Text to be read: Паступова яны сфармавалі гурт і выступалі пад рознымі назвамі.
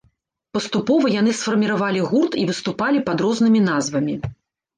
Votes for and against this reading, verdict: 0, 2, rejected